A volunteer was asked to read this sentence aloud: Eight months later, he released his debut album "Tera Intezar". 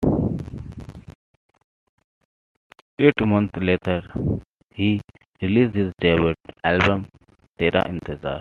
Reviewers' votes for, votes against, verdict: 2, 1, accepted